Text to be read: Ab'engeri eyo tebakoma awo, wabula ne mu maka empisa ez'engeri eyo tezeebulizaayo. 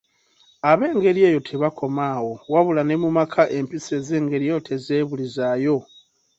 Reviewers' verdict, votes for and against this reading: accepted, 2, 0